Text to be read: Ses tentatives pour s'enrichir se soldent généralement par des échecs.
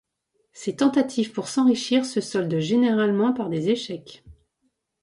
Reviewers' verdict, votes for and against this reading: accepted, 2, 0